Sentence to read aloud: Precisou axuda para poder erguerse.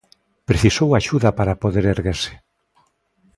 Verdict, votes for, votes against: accepted, 2, 0